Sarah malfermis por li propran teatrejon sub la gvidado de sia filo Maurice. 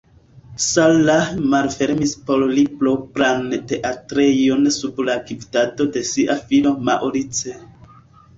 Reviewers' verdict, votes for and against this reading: accepted, 2, 0